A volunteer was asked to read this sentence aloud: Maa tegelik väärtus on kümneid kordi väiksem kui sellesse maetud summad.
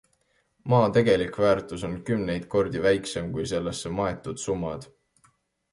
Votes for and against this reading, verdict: 2, 0, accepted